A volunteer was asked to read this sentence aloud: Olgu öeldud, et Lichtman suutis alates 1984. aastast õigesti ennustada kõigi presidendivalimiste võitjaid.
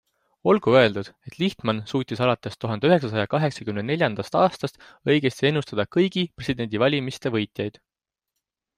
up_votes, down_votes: 0, 2